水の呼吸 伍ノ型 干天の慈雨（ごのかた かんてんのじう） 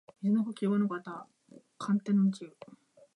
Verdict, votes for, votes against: accepted, 7, 1